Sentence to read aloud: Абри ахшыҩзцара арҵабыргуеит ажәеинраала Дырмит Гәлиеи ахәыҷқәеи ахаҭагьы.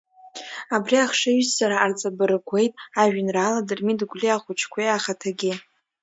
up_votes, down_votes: 0, 2